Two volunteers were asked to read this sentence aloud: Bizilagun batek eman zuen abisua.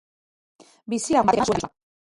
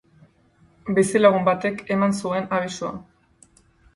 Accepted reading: second